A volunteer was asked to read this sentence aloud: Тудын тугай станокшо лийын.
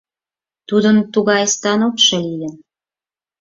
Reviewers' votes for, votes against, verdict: 4, 0, accepted